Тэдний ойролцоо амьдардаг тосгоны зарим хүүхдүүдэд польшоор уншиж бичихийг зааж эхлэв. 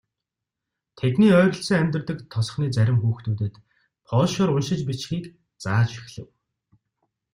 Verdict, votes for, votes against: accepted, 2, 0